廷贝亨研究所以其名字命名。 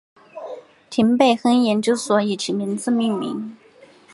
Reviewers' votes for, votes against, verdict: 3, 2, accepted